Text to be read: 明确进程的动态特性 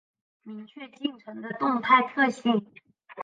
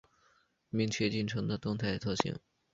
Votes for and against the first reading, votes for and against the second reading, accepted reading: 1, 2, 2, 0, second